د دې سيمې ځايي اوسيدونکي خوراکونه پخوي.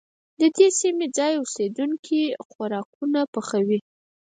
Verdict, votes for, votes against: rejected, 0, 4